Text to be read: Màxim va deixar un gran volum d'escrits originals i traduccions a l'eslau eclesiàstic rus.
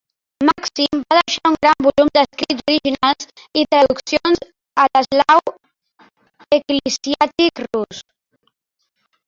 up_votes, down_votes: 1, 4